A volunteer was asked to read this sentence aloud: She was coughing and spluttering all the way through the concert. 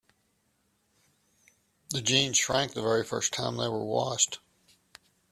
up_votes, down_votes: 0, 2